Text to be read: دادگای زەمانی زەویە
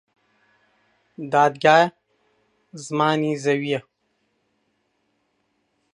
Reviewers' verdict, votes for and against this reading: rejected, 0, 2